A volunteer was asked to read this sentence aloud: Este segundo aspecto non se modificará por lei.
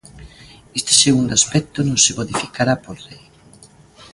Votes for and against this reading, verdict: 2, 0, accepted